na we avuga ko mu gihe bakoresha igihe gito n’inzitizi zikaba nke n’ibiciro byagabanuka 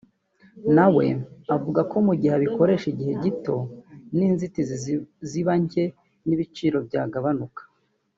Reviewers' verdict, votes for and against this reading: rejected, 1, 2